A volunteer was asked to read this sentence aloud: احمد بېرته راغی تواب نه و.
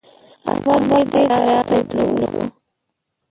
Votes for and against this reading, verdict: 0, 2, rejected